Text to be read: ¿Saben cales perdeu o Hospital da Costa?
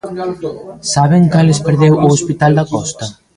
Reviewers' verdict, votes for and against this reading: rejected, 1, 2